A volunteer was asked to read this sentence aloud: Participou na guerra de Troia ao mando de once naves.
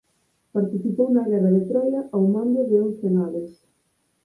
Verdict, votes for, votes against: accepted, 4, 0